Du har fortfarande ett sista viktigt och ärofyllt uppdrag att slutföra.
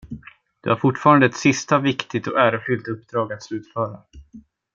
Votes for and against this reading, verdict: 2, 0, accepted